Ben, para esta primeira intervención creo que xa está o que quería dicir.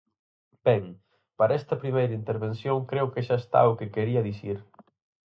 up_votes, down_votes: 4, 0